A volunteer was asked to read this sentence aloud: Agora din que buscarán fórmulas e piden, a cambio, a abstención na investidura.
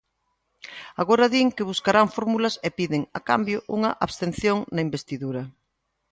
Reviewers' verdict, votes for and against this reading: rejected, 0, 2